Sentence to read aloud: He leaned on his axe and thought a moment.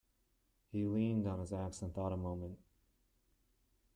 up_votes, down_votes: 0, 2